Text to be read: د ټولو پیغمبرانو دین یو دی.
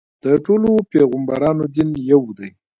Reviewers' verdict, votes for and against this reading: accepted, 2, 1